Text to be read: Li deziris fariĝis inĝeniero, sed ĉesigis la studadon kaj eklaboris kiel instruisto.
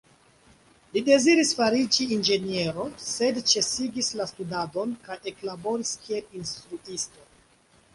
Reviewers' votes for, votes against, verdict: 2, 0, accepted